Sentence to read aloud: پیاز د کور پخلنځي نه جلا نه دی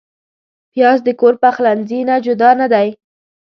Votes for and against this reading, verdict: 1, 2, rejected